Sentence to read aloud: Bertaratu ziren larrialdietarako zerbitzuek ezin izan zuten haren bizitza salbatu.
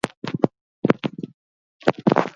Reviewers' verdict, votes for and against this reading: rejected, 0, 4